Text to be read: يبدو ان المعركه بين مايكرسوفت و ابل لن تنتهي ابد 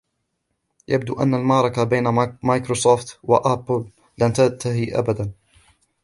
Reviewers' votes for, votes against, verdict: 2, 1, accepted